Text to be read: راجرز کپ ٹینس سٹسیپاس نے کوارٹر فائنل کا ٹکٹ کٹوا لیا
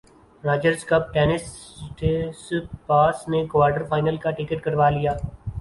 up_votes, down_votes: 0, 2